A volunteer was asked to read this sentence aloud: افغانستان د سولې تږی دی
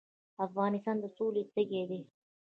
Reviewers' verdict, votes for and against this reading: rejected, 0, 2